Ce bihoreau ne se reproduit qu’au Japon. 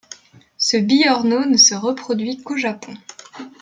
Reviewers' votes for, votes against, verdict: 1, 2, rejected